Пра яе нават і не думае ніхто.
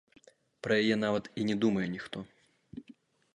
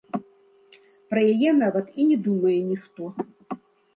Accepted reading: second